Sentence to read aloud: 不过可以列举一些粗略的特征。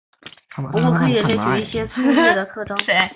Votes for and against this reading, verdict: 0, 2, rejected